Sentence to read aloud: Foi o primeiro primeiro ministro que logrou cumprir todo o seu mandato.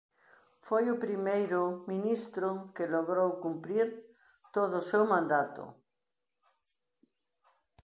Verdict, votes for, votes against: rejected, 0, 2